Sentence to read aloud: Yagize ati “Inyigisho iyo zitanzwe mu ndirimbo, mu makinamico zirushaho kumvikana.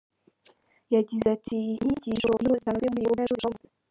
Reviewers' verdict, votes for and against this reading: rejected, 0, 3